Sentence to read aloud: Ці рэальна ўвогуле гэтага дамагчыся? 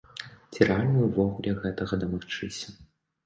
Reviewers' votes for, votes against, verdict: 2, 0, accepted